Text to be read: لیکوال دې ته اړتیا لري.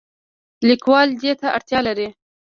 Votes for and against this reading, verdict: 1, 2, rejected